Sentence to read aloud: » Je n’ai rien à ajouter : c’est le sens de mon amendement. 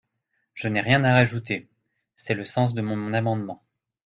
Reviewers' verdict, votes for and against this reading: rejected, 1, 2